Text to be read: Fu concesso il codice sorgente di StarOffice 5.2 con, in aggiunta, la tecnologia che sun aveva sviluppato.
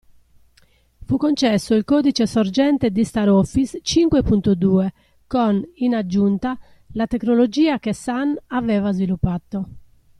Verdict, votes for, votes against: rejected, 0, 2